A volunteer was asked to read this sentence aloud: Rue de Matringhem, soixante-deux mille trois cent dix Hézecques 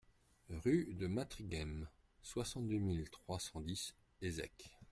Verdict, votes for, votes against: accepted, 2, 0